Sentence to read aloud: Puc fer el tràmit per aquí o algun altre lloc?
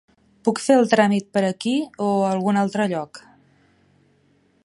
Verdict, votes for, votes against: accepted, 3, 0